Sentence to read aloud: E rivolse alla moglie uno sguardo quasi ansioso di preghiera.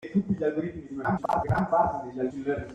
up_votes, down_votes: 0, 2